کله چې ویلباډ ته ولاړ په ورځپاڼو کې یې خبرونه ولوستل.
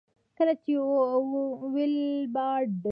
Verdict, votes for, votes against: rejected, 0, 2